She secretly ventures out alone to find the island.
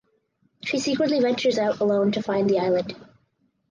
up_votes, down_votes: 2, 2